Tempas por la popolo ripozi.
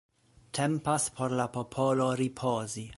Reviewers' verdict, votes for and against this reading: accepted, 2, 0